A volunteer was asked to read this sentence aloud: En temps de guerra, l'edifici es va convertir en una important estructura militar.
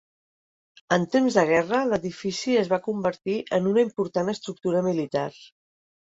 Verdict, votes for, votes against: accepted, 3, 0